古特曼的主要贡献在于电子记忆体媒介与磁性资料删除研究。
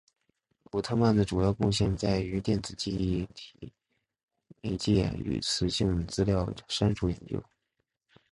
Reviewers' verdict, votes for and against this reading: rejected, 2, 3